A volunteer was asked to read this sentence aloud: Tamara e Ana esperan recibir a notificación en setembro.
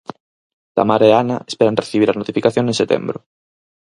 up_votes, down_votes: 2, 4